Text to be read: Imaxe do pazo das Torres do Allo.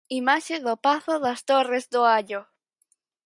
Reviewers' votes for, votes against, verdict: 4, 2, accepted